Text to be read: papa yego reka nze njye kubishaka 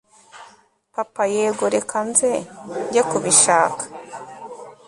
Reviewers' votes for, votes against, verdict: 2, 0, accepted